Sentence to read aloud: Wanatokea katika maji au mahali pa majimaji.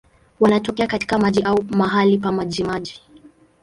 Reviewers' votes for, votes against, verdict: 2, 0, accepted